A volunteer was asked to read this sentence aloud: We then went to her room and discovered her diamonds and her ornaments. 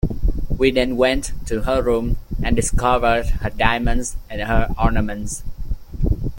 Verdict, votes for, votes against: accepted, 2, 0